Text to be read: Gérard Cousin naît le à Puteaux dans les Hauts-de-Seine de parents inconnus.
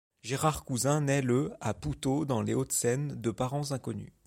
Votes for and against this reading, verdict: 0, 2, rejected